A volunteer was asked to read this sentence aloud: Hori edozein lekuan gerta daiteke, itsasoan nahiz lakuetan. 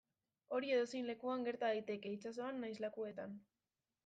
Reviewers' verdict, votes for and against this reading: accepted, 2, 0